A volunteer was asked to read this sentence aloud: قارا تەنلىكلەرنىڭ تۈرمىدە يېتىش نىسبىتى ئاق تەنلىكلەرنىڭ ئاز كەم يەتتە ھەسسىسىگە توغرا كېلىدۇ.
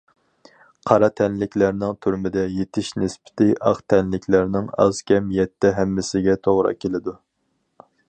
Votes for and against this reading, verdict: 0, 2, rejected